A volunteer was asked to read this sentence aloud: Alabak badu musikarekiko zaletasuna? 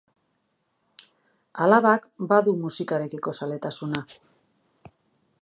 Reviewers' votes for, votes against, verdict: 0, 2, rejected